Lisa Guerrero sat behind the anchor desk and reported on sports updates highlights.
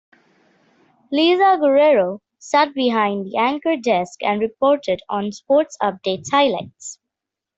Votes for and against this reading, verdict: 2, 0, accepted